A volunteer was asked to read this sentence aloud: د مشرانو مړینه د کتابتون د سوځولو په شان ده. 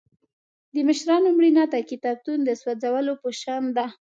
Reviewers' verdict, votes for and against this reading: accepted, 2, 0